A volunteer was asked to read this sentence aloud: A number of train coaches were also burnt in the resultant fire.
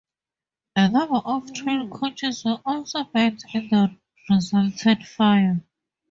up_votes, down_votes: 0, 2